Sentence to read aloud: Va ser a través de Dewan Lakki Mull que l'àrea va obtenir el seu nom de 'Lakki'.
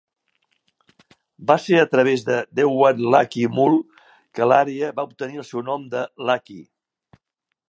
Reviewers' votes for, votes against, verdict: 2, 0, accepted